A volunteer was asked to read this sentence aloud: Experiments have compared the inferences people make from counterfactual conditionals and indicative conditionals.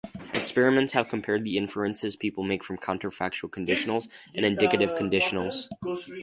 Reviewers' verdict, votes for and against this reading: accepted, 4, 2